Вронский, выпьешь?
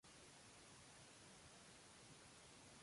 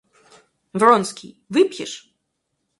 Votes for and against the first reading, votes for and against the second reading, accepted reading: 0, 2, 4, 0, second